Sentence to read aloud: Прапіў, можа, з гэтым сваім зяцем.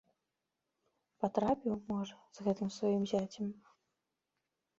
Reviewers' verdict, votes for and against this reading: rejected, 0, 2